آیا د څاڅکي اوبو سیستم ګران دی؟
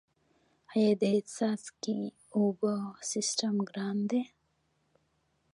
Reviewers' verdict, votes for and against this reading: accepted, 2, 0